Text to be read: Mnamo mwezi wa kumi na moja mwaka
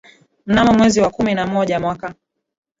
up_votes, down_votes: 2, 1